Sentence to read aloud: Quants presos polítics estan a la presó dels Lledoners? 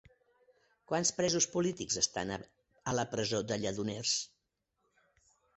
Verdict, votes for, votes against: rejected, 1, 2